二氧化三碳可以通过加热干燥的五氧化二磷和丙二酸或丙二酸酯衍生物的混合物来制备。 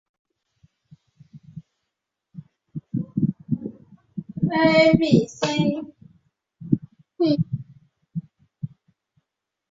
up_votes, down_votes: 4, 3